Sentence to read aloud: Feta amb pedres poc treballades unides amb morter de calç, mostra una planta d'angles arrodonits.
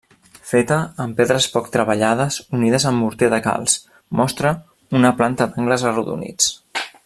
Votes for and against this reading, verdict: 0, 2, rejected